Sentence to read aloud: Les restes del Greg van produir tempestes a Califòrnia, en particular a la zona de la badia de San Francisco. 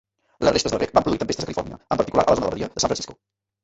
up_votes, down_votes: 0, 2